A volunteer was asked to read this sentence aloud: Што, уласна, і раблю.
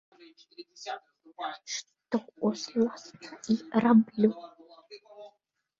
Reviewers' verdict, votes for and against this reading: rejected, 0, 2